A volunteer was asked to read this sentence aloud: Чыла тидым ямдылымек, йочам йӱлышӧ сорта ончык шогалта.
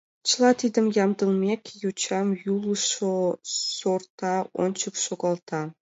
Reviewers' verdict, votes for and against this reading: accepted, 2, 0